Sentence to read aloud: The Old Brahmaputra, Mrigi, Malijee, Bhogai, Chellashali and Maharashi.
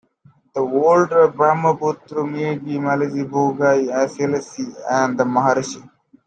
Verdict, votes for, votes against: rejected, 0, 2